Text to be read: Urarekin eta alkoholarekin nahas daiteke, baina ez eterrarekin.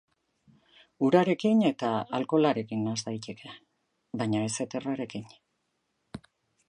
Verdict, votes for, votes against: accepted, 2, 0